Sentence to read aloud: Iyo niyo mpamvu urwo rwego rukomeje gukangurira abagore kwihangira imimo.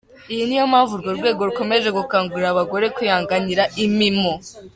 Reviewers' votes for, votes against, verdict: 2, 0, accepted